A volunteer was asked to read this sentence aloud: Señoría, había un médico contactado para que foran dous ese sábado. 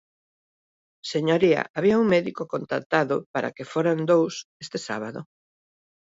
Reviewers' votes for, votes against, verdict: 1, 2, rejected